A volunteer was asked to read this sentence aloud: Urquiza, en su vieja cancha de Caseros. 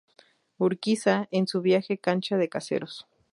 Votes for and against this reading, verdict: 0, 2, rejected